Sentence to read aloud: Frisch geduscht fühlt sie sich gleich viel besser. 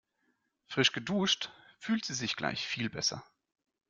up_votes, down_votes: 2, 0